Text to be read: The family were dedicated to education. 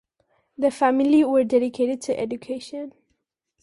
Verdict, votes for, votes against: accepted, 2, 0